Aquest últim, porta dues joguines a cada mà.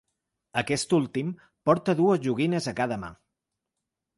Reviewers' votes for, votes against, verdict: 6, 0, accepted